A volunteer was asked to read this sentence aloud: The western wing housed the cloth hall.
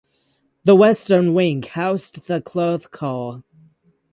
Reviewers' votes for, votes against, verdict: 0, 6, rejected